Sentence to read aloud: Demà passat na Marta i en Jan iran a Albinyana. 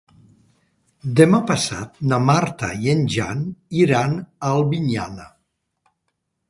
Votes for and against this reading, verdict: 5, 0, accepted